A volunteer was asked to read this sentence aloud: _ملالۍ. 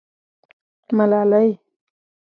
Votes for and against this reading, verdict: 2, 0, accepted